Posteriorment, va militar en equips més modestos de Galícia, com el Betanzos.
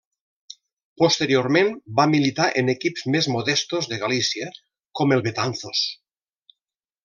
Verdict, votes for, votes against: accepted, 3, 0